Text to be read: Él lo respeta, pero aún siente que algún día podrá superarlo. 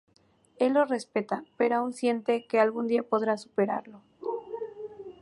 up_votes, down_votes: 2, 0